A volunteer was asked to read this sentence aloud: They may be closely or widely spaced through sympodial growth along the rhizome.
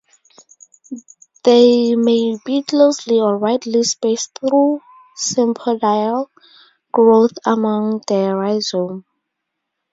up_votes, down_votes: 2, 0